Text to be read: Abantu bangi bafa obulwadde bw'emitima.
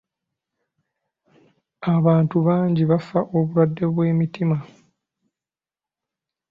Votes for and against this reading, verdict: 2, 0, accepted